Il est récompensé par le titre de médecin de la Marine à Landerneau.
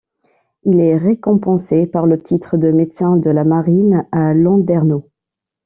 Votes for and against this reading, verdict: 2, 0, accepted